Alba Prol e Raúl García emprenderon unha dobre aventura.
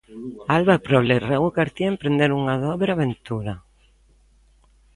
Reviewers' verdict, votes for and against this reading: accepted, 2, 0